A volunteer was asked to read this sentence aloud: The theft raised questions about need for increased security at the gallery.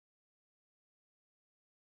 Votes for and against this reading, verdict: 1, 2, rejected